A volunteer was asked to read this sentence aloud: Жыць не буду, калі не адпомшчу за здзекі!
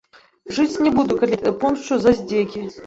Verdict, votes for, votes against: rejected, 0, 2